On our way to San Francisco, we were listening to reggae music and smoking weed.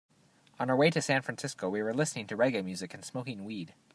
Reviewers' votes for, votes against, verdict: 2, 0, accepted